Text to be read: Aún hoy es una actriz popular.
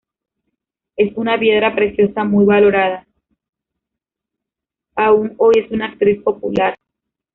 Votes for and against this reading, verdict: 0, 2, rejected